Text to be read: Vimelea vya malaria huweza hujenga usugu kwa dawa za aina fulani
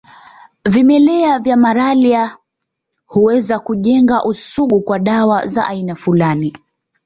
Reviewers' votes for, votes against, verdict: 0, 2, rejected